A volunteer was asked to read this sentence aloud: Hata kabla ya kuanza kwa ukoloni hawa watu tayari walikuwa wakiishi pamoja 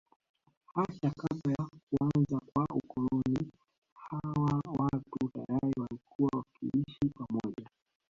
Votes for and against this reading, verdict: 0, 2, rejected